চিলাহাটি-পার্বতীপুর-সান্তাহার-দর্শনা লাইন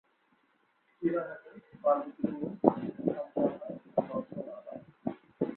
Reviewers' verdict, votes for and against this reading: rejected, 0, 2